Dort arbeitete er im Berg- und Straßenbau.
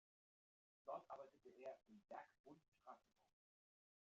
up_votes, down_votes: 1, 2